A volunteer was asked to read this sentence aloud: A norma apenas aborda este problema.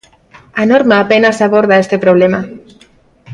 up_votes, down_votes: 1, 2